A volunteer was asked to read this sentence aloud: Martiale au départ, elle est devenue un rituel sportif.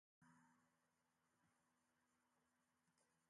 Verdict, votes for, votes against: rejected, 1, 2